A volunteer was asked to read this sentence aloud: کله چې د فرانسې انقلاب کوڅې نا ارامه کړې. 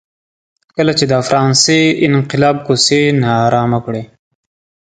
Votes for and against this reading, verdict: 2, 0, accepted